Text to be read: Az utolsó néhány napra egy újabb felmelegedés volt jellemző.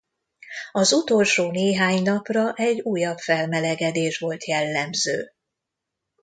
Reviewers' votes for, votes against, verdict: 0, 2, rejected